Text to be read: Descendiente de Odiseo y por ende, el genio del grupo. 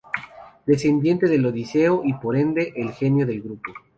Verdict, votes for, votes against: rejected, 0, 2